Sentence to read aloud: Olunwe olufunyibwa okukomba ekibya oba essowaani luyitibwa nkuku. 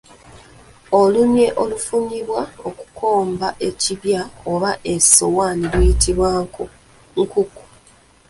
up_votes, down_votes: 0, 2